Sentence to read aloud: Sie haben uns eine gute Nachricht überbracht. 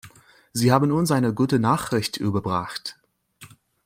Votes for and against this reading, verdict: 2, 1, accepted